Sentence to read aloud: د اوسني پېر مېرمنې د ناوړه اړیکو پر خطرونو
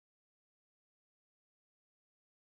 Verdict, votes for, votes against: rejected, 0, 2